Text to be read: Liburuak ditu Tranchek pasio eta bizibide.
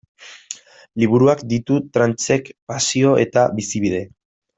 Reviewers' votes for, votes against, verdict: 0, 2, rejected